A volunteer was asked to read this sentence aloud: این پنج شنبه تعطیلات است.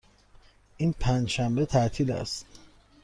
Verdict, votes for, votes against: accepted, 2, 0